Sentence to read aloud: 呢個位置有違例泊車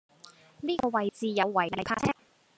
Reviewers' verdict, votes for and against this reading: rejected, 0, 2